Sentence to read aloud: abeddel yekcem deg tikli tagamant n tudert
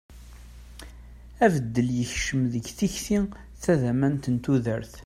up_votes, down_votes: 0, 2